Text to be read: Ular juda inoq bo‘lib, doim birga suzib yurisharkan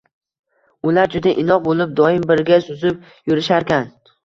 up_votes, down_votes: 2, 0